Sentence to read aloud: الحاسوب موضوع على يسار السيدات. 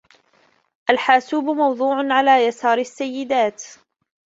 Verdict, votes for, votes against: rejected, 1, 2